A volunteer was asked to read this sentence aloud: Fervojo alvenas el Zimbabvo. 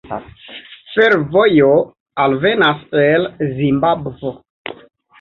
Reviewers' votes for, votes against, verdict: 2, 1, accepted